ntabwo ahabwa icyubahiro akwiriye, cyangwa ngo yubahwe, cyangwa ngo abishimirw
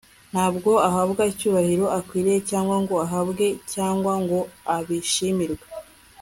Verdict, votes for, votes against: rejected, 1, 2